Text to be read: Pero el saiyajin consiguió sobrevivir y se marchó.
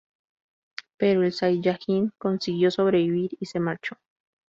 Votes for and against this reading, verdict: 2, 4, rejected